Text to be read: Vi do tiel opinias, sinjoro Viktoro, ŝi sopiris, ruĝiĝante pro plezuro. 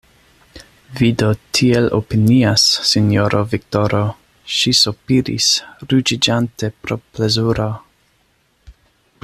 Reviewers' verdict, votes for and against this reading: accepted, 2, 0